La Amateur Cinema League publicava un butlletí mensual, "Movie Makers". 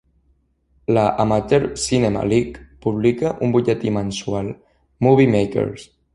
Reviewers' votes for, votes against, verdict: 0, 2, rejected